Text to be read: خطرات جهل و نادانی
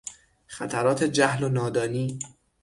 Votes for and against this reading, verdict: 6, 0, accepted